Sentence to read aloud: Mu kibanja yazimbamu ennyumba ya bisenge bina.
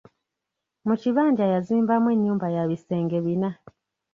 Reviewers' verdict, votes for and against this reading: rejected, 1, 2